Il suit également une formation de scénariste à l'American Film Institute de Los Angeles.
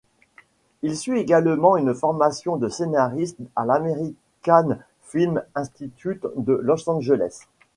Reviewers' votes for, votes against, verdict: 2, 0, accepted